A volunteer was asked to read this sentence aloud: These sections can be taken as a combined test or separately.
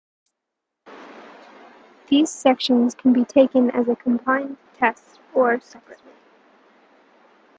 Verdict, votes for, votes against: rejected, 0, 2